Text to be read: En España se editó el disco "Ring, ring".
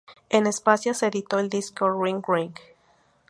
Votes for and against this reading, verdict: 0, 2, rejected